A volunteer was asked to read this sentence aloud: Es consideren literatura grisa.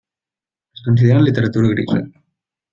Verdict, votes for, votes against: accepted, 2, 0